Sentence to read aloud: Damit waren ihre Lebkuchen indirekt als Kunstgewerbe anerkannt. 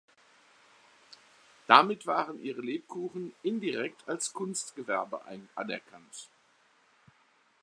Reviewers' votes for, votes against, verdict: 0, 2, rejected